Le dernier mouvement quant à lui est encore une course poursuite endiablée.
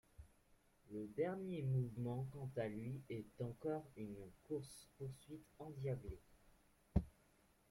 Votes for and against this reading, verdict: 1, 2, rejected